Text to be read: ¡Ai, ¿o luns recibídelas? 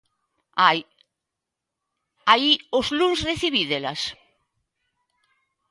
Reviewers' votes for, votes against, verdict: 2, 1, accepted